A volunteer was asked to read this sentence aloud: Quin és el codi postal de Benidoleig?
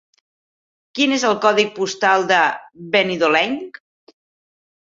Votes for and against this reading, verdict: 1, 2, rejected